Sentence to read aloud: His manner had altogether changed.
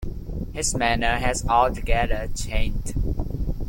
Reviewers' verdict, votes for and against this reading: rejected, 0, 2